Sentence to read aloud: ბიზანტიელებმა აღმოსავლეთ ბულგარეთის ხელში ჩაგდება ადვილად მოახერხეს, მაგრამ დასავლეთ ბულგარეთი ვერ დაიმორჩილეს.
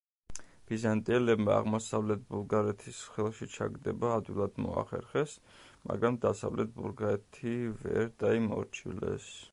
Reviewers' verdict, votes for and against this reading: accepted, 2, 0